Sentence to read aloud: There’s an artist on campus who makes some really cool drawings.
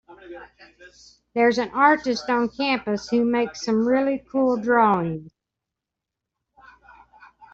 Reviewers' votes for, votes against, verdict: 1, 2, rejected